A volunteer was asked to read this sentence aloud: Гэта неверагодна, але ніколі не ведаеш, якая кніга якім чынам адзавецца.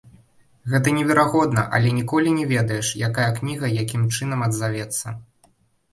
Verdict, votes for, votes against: rejected, 1, 2